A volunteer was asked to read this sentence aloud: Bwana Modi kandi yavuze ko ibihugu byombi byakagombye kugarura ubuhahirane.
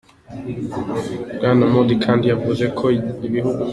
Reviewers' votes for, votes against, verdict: 0, 2, rejected